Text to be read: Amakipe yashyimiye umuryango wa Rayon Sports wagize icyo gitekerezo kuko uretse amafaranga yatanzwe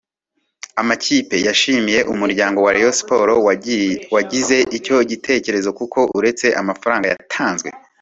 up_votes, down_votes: 0, 2